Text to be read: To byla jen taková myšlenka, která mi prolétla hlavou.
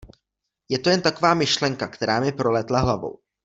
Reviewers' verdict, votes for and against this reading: rejected, 0, 2